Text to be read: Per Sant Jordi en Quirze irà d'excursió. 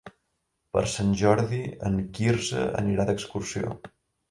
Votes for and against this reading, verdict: 1, 2, rejected